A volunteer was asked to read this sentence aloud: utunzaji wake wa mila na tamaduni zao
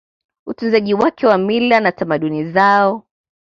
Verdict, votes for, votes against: accepted, 2, 0